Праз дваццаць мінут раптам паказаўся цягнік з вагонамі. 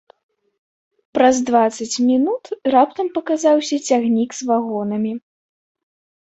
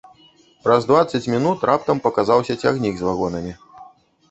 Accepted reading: first